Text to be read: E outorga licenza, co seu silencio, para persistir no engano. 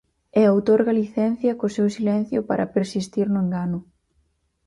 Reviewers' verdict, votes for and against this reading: rejected, 2, 4